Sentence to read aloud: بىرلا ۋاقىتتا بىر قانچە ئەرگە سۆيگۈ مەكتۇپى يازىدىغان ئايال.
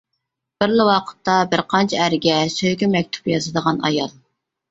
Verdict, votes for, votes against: accepted, 2, 0